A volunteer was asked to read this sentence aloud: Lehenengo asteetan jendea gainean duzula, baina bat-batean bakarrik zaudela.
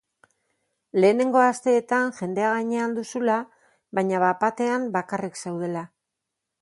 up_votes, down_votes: 0, 2